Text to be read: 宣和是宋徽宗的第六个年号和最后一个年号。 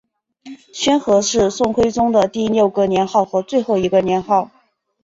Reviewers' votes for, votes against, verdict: 6, 0, accepted